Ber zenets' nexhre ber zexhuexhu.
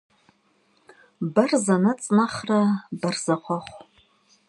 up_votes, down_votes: 2, 0